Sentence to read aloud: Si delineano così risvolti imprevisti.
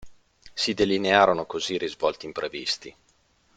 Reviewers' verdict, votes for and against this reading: rejected, 0, 2